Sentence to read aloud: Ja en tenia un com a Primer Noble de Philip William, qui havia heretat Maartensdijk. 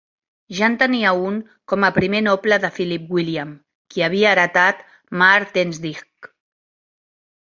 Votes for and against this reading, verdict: 3, 0, accepted